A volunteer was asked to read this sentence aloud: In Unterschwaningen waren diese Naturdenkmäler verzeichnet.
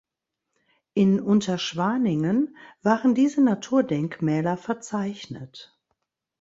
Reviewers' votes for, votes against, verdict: 2, 0, accepted